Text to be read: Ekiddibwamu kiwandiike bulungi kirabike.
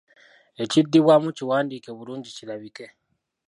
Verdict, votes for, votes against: rejected, 1, 2